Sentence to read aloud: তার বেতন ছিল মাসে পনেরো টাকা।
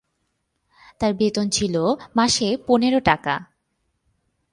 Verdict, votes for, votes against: accepted, 4, 0